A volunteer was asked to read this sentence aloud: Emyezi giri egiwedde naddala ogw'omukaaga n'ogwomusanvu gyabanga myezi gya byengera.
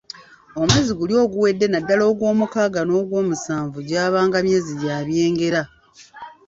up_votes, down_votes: 0, 2